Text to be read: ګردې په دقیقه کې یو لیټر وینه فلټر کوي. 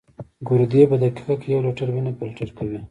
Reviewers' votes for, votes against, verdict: 1, 2, rejected